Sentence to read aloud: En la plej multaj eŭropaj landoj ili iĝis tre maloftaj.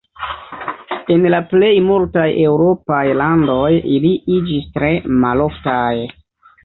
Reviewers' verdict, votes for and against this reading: accepted, 2, 0